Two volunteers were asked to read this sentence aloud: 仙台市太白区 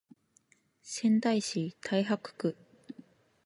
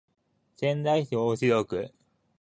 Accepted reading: second